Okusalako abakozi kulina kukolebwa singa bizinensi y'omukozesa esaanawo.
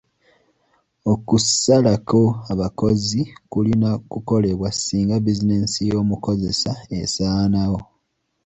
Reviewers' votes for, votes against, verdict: 2, 0, accepted